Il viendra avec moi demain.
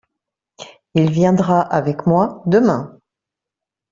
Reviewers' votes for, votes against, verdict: 2, 0, accepted